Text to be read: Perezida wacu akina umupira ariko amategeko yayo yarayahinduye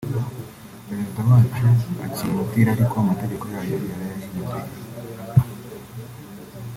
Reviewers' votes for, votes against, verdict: 2, 0, accepted